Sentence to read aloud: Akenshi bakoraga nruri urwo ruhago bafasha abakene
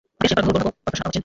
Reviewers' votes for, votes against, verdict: 1, 2, rejected